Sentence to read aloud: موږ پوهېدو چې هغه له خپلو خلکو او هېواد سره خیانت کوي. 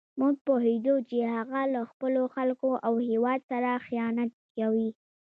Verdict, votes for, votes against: rejected, 0, 2